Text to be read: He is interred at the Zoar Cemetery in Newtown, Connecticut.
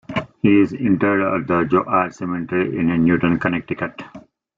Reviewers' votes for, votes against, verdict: 2, 1, accepted